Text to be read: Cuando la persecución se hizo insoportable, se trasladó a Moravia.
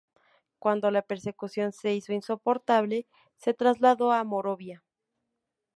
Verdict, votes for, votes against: rejected, 0, 2